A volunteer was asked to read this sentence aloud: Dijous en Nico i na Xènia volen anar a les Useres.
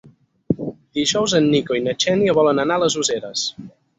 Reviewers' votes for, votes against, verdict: 6, 0, accepted